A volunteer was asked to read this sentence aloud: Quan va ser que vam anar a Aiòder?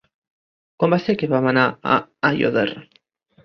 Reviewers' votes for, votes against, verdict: 1, 2, rejected